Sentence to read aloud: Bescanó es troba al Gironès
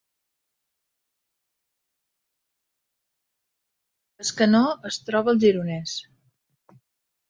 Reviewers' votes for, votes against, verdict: 2, 3, rejected